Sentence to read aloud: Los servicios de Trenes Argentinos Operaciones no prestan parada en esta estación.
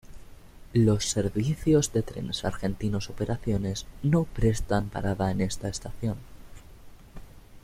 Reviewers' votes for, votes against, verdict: 2, 0, accepted